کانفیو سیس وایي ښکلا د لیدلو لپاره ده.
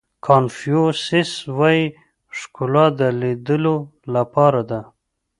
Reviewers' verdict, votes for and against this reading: accepted, 2, 0